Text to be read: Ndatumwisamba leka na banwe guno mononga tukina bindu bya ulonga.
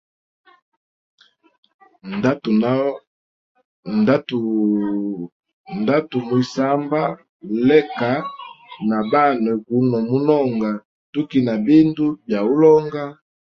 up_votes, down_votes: 1, 2